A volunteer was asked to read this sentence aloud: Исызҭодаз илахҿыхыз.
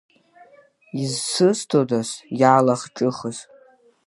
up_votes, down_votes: 0, 2